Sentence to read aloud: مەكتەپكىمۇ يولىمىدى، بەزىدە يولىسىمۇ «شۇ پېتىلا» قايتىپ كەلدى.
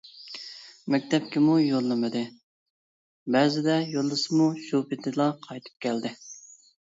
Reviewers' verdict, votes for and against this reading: rejected, 1, 2